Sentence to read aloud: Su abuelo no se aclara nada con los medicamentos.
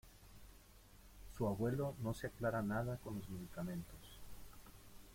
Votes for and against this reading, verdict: 1, 2, rejected